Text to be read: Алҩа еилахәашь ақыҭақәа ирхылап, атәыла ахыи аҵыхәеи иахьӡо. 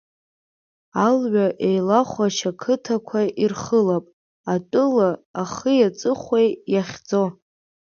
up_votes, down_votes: 6, 0